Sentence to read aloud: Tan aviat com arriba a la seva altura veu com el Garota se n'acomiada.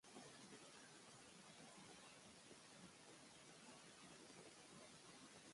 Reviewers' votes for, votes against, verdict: 1, 2, rejected